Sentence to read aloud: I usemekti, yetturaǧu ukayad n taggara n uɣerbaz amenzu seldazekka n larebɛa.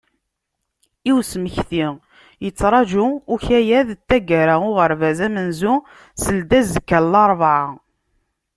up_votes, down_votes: 2, 0